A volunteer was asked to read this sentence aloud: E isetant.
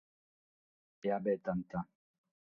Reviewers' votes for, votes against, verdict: 3, 6, rejected